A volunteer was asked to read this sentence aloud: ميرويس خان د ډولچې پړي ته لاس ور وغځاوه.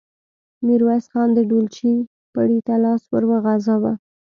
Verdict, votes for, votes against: accepted, 2, 0